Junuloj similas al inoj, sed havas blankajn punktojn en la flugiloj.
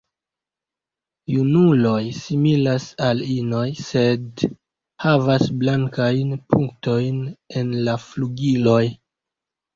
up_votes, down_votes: 0, 2